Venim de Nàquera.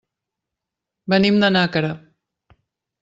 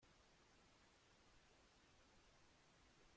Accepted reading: first